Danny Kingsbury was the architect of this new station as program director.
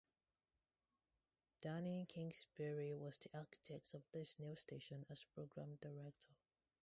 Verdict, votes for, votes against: rejected, 2, 2